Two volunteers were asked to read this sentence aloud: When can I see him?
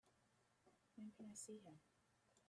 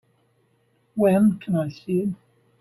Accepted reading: first